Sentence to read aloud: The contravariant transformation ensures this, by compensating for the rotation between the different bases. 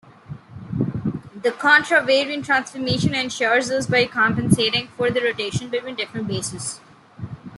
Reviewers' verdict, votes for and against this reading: accepted, 2, 1